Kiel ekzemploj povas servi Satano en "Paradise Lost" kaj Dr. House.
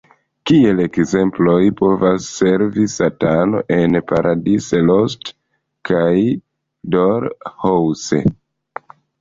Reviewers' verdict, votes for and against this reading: rejected, 1, 2